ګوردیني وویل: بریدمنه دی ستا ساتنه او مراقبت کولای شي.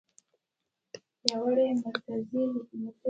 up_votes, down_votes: 1, 2